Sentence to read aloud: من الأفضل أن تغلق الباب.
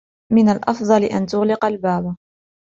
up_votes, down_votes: 2, 0